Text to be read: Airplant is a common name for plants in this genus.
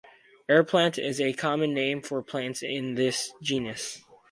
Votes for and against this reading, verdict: 4, 0, accepted